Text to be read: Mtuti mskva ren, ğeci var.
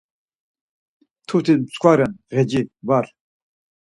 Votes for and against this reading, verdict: 4, 0, accepted